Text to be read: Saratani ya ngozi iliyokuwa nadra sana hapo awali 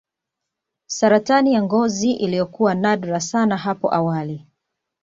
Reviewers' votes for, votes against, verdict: 3, 0, accepted